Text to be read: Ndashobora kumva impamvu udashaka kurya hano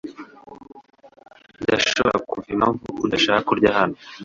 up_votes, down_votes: 2, 0